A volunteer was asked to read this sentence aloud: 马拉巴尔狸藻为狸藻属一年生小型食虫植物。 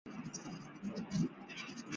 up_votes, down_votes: 0, 4